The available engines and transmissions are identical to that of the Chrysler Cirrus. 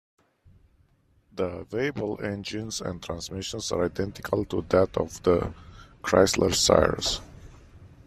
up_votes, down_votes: 1, 2